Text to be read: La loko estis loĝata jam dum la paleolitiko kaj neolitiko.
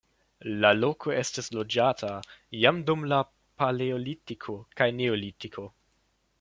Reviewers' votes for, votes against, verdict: 2, 0, accepted